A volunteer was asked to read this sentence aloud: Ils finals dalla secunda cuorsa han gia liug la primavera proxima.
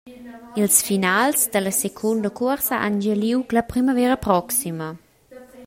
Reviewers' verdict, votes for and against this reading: rejected, 1, 2